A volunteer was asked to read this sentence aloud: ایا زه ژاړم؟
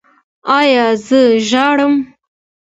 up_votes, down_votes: 2, 1